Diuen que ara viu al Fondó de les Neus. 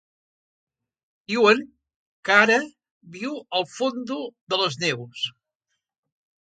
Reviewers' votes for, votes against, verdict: 0, 3, rejected